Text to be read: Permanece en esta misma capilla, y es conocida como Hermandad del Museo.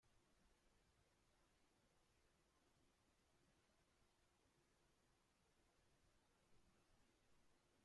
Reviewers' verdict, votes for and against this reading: rejected, 0, 2